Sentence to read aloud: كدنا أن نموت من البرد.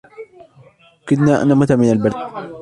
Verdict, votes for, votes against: accepted, 2, 1